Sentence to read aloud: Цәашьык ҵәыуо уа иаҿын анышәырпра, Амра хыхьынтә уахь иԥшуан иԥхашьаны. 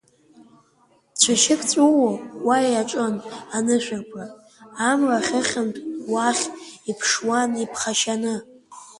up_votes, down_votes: 0, 2